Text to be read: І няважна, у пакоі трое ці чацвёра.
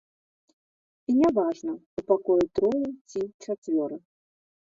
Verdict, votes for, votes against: rejected, 1, 2